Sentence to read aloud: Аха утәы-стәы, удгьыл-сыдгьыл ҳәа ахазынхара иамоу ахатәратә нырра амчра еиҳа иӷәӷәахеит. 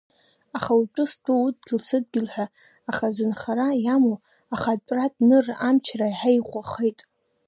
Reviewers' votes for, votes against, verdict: 0, 2, rejected